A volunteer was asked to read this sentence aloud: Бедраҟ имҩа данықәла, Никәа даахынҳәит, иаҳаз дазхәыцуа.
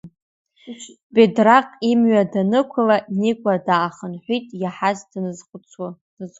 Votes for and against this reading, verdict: 2, 0, accepted